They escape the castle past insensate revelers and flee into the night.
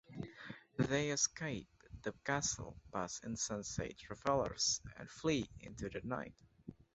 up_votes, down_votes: 2, 1